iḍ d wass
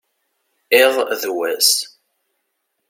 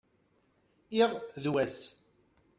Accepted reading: first